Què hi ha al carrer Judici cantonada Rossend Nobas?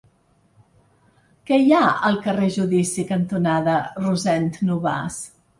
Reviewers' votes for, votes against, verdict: 1, 2, rejected